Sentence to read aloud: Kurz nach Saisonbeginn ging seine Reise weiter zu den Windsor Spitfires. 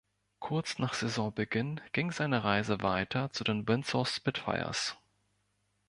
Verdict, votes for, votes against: accepted, 2, 0